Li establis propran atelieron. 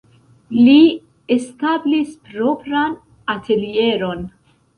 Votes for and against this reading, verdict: 0, 2, rejected